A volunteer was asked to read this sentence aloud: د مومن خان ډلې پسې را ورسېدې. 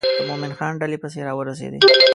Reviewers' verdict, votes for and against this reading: rejected, 1, 2